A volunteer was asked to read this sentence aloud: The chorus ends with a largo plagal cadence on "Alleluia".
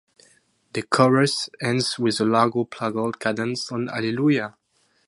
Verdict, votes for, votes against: accepted, 2, 0